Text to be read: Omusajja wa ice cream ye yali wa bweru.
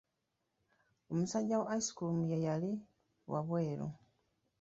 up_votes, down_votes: 2, 0